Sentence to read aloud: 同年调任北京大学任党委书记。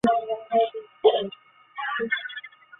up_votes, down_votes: 0, 2